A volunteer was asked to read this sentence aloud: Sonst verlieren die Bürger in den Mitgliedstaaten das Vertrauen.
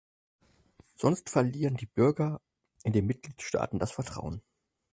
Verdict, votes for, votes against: accepted, 4, 0